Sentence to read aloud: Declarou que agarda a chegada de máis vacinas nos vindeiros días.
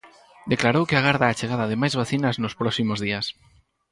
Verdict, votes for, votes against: rejected, 0, 4